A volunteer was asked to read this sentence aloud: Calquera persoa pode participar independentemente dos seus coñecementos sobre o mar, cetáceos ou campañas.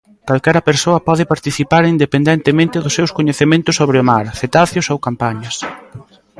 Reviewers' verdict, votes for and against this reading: accepted, 2, 0